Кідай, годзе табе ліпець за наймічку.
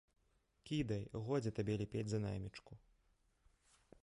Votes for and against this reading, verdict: 1, 2, rejected